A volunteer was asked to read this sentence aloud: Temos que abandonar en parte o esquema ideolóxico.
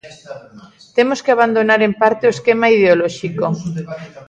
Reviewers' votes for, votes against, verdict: 2, 1, accepted